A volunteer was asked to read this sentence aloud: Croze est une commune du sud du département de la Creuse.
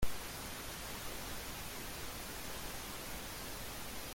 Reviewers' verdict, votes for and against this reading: rejected, 0, 2